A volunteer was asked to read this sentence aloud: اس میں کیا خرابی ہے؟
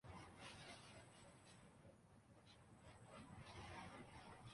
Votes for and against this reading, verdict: 0, 2, rejected